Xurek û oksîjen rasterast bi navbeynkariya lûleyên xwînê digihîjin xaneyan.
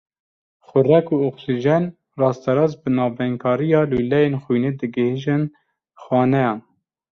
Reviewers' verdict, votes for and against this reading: accepted, 2, 0